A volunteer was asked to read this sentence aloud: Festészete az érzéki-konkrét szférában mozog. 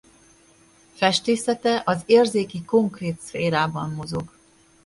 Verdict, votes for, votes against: accepted, 2, 0